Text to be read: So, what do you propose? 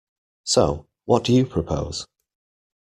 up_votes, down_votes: 2, 0